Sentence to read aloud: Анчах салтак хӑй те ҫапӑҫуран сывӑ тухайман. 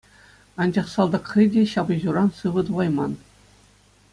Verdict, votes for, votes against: accepted, 2, 0